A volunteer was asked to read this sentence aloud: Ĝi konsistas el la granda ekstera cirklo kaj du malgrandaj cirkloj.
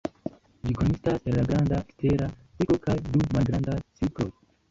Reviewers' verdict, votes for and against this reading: accepted, 2, 1